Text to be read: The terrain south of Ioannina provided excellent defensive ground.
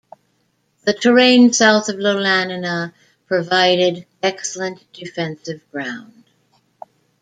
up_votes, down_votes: 2, 1